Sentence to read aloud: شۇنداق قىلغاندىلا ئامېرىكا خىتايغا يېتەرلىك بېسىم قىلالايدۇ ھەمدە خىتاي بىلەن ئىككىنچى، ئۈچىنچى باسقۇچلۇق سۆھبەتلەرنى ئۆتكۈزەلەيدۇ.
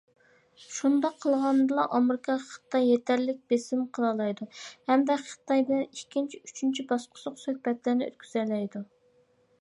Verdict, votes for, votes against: rejected, 0, 2